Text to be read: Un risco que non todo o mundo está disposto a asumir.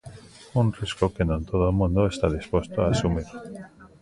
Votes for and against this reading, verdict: 1, 2, rejected